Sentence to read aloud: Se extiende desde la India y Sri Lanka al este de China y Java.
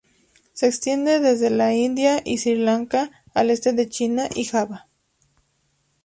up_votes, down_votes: 2, 0